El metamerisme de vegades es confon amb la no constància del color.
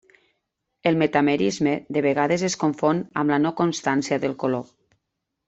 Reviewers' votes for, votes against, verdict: 3, 0, accepted